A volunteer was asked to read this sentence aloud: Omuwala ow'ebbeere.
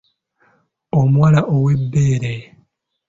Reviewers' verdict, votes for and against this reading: accepted, 2, 0